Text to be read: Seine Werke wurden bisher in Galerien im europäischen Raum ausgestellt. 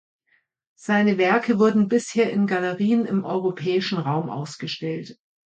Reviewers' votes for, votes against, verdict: 2, 0, accepted